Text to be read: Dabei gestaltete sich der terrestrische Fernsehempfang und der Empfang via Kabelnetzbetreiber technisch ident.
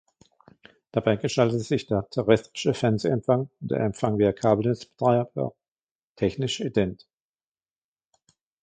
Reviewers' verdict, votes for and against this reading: accepted, 2, 1